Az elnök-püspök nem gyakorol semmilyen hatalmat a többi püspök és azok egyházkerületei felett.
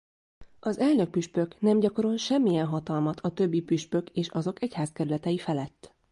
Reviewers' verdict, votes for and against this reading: accepted, 2, 0